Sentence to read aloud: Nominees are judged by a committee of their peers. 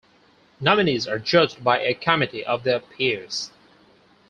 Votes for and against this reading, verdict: 2, 4, rejected